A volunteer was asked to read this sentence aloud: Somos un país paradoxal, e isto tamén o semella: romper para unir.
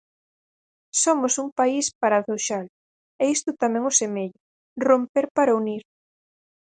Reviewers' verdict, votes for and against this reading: rejected, 2, 4